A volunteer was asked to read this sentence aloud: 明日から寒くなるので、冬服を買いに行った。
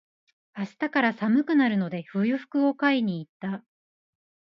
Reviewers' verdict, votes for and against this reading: rejected, 0, 2